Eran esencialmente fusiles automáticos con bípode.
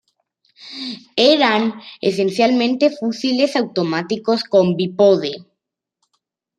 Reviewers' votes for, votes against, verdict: 2, 0, accepted